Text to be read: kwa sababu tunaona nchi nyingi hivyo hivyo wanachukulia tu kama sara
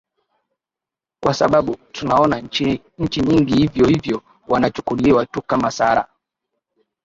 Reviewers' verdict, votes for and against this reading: rejected, 2, 3